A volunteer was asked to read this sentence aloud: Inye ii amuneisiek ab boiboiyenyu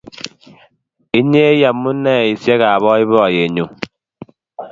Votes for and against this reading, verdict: 2, 0, accepted